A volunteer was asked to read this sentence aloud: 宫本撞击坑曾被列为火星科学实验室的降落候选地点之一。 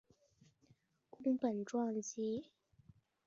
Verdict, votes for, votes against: rejected, 0, 2